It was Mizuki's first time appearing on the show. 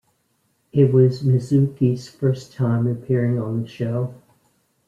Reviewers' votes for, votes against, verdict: 2, 0, accepted